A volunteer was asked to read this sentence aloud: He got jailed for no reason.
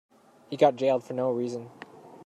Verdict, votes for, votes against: accepted, 2, 0